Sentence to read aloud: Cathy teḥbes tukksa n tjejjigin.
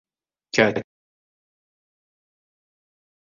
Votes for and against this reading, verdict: 0, 2, rejected